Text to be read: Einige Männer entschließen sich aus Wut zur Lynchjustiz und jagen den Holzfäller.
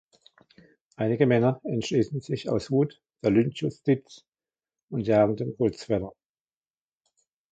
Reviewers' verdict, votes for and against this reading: accepted, 2, 0